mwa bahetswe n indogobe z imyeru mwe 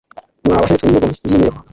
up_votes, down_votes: 0, 2